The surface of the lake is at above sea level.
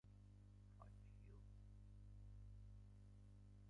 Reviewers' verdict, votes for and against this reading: rejected, 0, 2